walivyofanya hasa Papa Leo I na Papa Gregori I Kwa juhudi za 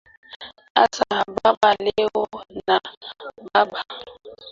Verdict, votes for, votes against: rejected, 0, 3